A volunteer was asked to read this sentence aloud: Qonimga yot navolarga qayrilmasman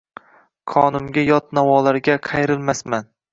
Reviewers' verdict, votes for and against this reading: rejected, 1, 2